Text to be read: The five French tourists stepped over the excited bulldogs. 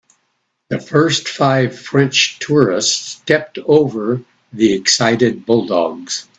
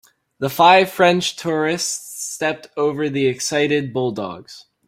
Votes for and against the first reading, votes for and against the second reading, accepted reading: 0, 2, 2, 0, second